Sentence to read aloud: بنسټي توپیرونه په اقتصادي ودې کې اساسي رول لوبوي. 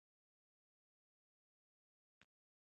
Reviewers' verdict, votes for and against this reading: rejected, 2, 3